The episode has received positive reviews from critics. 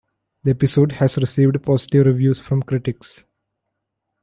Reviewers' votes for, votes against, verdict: 2, 1, accepted